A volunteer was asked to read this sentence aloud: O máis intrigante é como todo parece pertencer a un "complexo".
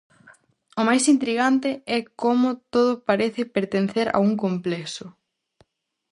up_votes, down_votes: 2, 2